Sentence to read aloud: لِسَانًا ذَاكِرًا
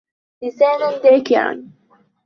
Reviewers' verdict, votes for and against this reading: accepted, 2, 1